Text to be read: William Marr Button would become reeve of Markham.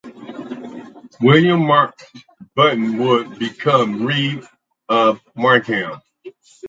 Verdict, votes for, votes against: accepted, 4, 0